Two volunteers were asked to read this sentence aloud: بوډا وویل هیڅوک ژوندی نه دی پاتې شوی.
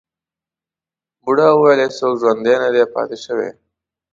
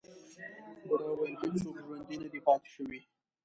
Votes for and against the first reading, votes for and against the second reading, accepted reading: 2, 0, 1, 2, first